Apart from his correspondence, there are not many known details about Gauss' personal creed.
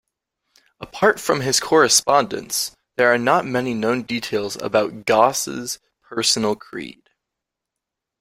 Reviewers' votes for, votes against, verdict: 2, 0, accepted